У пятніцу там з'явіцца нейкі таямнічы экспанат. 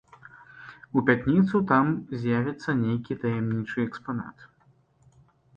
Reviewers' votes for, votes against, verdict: 0, 2, rejected